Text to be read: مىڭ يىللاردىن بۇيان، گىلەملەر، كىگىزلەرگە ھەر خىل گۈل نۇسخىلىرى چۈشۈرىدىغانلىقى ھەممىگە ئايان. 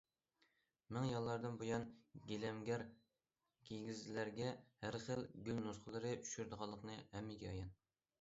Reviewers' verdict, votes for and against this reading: rejected, 0, 2